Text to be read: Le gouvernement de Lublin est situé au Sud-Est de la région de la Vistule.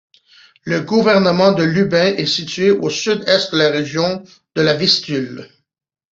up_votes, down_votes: 1, 2